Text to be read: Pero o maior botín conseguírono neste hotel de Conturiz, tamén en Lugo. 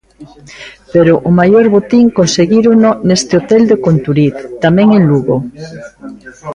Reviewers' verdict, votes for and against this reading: rejected, 0, 3